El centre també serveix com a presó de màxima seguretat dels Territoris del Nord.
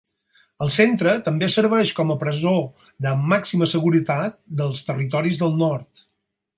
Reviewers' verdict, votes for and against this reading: accepted, 6, 0